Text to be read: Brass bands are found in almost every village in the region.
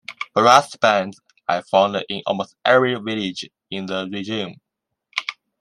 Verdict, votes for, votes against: accepted, 2, 1